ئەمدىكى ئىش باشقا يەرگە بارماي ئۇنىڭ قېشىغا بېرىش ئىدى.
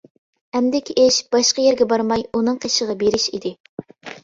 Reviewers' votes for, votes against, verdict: 2, 0, accepted